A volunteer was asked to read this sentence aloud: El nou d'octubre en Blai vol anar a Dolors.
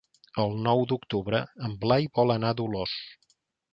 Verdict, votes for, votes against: accepted, 4, 0